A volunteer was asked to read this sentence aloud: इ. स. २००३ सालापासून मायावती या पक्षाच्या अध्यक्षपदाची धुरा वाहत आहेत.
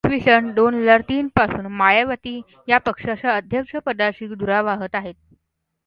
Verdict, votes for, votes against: rejected, 0, 2